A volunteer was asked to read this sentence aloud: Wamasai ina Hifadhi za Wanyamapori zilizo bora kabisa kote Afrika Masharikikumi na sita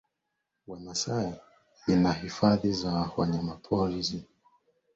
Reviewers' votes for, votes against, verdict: 0, 2, rejected